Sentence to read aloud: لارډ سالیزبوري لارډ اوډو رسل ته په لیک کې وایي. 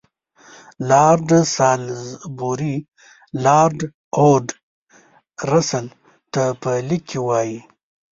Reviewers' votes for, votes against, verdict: 1, 2, rejected